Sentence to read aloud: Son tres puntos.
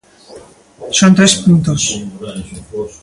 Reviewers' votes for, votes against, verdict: 2, 0, accepted